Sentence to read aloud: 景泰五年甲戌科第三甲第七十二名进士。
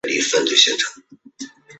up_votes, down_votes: 0, 2